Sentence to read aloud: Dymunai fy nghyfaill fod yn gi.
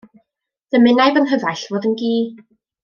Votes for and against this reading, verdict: 2, 0, accepted